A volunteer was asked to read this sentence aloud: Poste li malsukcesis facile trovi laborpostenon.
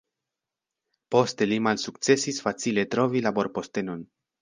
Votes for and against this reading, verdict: 2, 0, accepted